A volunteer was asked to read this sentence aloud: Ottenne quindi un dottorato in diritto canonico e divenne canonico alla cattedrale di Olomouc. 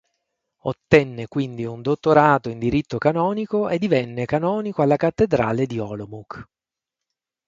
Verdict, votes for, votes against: accepted, 6, 0